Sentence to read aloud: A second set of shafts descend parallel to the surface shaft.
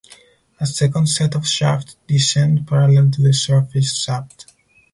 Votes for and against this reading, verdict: 2, 4, rejected